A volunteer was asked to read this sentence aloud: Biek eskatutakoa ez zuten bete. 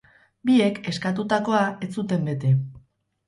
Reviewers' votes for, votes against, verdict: 2, 2, rejected